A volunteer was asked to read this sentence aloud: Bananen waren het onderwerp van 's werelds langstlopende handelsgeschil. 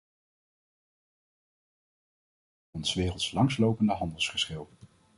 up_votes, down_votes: 0, 2